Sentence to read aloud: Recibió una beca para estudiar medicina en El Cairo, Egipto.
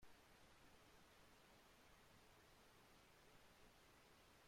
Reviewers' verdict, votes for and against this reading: rejected, 0, 2